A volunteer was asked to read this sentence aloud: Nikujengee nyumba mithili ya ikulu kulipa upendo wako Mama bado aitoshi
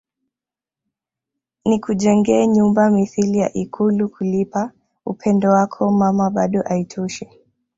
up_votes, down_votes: 2, 0